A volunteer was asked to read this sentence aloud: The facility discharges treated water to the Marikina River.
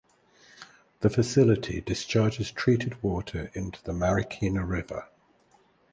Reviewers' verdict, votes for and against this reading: rejected, 2, 4